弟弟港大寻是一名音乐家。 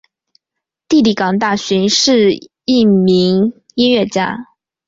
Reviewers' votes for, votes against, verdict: 2, 0, accepted